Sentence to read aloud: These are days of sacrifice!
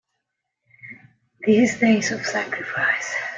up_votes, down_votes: 1, 2